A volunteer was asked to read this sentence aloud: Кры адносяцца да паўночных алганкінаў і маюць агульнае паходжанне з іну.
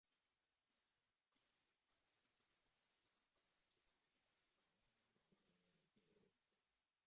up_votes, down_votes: 0, 2